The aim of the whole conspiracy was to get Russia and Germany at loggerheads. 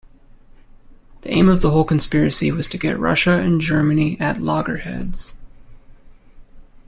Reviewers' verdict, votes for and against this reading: accepted, 2, 0